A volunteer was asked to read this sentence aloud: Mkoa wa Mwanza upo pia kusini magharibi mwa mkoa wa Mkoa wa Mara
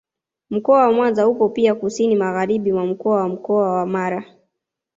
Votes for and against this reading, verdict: 2, 0, accepted